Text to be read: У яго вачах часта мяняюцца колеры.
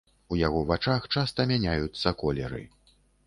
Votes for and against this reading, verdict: 2, 0, accepted